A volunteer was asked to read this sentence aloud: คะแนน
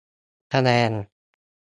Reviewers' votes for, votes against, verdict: 2, 0, accepted